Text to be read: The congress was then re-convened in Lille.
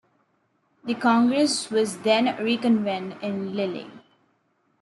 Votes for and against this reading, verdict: 0, 2, rejected